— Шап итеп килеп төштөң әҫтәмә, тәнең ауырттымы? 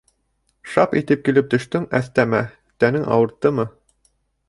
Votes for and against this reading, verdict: 1, 2, rejected